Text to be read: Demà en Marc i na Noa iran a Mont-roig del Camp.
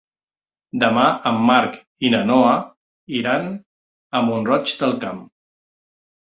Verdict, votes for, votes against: accepted, 3, 0